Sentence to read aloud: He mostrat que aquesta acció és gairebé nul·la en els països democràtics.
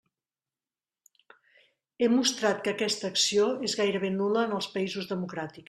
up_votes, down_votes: 0, 2